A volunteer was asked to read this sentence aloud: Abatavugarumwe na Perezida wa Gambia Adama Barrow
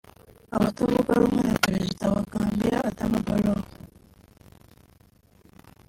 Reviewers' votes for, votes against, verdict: 1, 2, rejected